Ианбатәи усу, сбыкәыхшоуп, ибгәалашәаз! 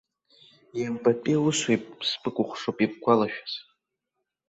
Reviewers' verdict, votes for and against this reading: accepted, 2, 0